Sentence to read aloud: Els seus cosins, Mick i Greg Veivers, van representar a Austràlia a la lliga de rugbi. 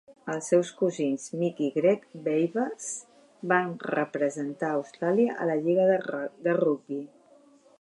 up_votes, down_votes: 0, 2